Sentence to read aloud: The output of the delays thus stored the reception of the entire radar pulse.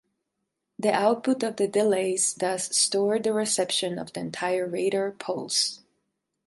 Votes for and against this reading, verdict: 4, 0, accepted